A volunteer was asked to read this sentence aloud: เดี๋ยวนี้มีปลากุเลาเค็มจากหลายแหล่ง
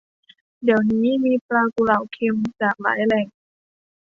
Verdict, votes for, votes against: accepted, 2, 0